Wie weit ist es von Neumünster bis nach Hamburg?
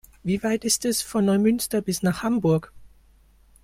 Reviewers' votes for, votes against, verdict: 2, 0, accepted